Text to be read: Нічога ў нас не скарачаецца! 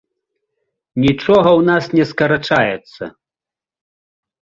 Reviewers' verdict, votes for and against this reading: accepted, 2, 0